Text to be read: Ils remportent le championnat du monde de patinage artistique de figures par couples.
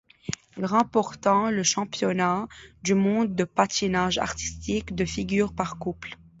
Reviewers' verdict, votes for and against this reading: rejected, 0, 2